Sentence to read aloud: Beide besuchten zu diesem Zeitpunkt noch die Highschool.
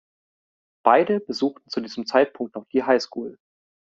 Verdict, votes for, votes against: accepted, 2, 0